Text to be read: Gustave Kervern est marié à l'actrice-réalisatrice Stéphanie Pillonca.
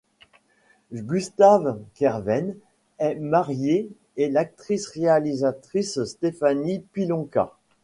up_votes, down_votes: 0, 2